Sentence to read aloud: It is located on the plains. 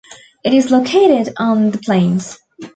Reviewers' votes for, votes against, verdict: 2, 0, accepted